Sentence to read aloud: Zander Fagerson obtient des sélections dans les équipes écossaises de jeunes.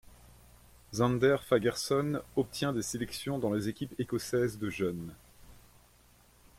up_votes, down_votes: 2, 0